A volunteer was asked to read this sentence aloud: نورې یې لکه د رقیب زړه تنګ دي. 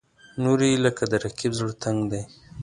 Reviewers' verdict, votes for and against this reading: accepted, 2, 1